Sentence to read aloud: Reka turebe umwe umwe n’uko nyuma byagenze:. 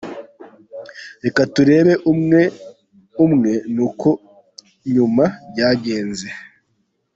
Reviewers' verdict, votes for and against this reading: rejected, 0, 2